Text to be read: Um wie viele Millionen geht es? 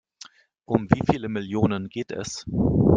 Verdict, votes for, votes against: accepted, 2, 0